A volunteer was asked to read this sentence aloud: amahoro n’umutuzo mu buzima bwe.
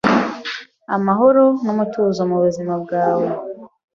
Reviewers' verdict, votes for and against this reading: rejected, 1, 2